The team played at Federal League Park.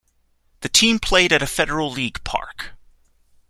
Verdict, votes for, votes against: rejected, 1, 2